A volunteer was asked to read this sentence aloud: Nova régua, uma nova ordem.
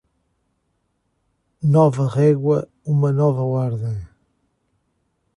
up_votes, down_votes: 2, 0